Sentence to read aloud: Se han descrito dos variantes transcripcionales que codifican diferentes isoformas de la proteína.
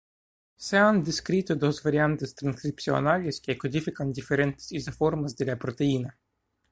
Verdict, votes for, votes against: rejected, 1, 2